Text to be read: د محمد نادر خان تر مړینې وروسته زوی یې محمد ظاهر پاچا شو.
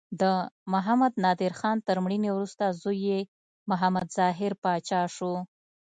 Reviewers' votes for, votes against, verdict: 2, 0, accepted